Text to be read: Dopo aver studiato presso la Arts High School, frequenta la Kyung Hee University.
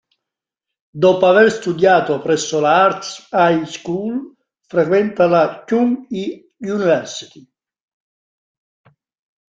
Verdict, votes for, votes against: rejected, 0, 2